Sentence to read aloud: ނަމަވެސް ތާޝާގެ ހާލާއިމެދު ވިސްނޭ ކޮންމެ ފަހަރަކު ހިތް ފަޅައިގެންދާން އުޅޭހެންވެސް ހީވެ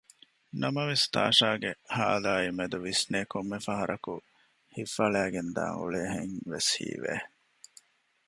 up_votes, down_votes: 2, 0